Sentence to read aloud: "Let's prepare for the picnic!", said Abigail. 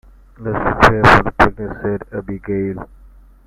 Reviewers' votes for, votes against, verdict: 1, 2, rejected